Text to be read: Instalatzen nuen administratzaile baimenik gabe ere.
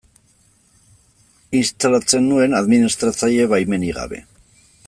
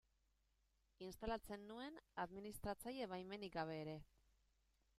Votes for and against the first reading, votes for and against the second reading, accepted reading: 1, 2, 2, 0, second